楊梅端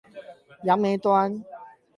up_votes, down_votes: 8, 0